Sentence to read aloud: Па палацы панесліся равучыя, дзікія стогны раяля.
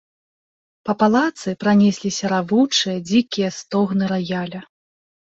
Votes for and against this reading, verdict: 0, 2, rejected